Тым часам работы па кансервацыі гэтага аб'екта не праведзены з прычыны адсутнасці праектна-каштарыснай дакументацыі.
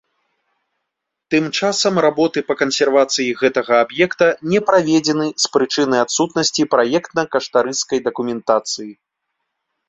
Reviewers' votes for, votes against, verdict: 2, 1, accepted